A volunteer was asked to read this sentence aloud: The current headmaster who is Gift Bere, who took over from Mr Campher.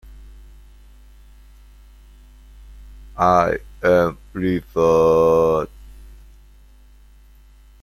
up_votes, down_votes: 0, 2